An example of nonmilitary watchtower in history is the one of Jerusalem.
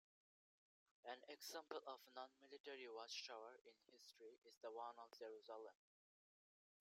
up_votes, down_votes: 2, 0